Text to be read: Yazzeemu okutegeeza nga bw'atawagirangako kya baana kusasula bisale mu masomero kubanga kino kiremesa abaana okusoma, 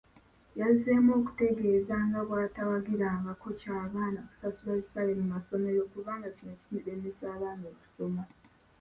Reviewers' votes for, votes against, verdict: 2, 0, accepted